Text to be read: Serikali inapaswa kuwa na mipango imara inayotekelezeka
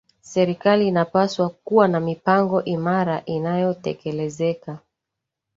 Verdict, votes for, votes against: accepted, 2, 0